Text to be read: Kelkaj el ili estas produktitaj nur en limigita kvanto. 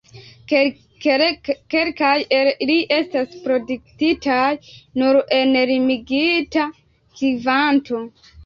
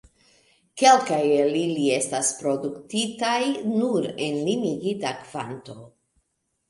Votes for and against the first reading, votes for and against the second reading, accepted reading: 1, 2, 2, 0, second